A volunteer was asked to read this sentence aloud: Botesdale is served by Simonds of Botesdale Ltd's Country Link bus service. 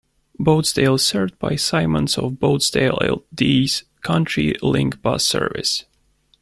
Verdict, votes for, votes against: rejected, 1, 2